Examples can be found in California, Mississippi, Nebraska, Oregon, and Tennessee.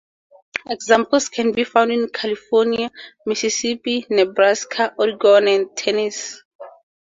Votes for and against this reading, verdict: 0, 2, rejected